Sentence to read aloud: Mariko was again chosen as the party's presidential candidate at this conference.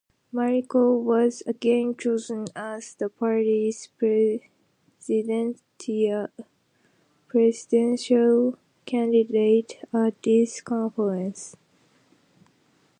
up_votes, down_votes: 0, 2